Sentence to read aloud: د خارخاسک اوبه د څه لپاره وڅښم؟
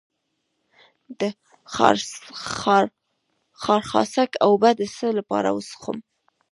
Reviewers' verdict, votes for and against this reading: rejected, 1, 2